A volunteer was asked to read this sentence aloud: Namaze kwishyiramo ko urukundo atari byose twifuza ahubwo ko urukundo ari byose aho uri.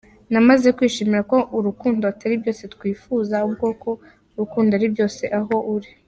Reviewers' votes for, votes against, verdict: 2, 0, accepted